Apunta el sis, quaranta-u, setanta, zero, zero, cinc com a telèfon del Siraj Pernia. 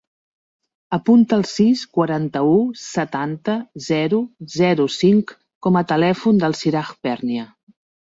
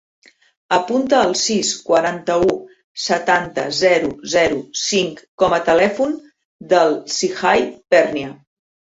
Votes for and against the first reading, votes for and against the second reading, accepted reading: 4, 0, 2, 3, first